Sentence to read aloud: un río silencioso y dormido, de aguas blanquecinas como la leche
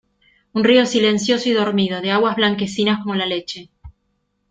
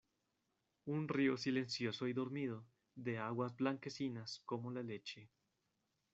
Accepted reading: first